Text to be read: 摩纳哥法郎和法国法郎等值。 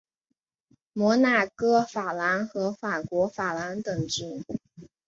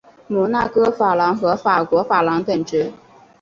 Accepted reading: second